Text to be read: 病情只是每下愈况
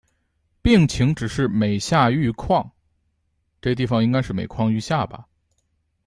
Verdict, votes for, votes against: rejected, 1, 2